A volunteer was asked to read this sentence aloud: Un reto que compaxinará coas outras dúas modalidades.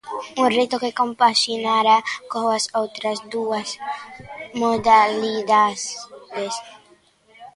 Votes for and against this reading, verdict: 0, 2, rejected